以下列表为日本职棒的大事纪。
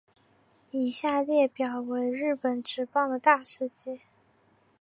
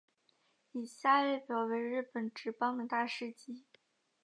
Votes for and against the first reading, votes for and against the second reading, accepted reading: 2, 0, 0, 2, first